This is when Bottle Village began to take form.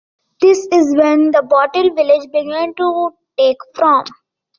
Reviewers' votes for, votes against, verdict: 2, 0, accepted